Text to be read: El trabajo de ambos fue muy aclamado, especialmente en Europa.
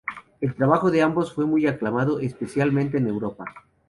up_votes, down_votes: 0, 2